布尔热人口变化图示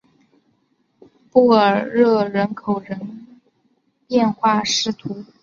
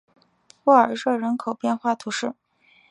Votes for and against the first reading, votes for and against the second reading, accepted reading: 0, 4, 3, 0, second